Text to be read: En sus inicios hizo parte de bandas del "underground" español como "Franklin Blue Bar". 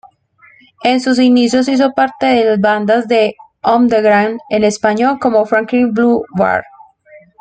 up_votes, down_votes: 2, 0